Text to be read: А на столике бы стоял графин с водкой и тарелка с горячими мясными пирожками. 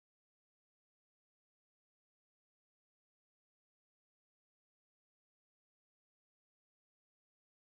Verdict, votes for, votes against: rejected, 0, 2